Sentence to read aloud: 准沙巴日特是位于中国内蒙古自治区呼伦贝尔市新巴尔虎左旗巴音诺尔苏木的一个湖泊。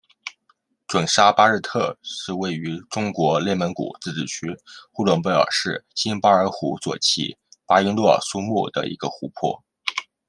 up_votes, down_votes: 2, 1